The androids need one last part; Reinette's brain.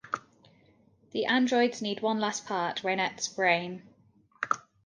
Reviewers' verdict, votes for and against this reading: accepted, 2, 0